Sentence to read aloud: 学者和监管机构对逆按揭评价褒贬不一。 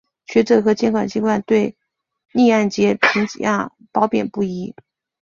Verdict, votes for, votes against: accepted, 2, 1